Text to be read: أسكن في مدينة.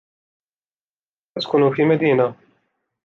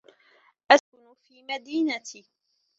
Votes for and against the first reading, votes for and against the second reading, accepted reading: 2, 0, 1, 2, first